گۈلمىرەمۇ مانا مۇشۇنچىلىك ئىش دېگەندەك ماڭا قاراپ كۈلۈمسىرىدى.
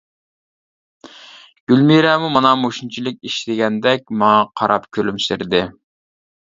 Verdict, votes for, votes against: accepted, 2, 0